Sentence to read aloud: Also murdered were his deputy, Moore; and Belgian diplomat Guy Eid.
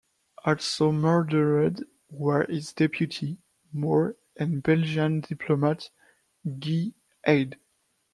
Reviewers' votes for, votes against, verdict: 0, 2, rejected